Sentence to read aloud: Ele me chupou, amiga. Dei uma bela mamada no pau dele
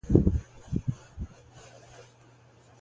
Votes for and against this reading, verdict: 0, 2, rejected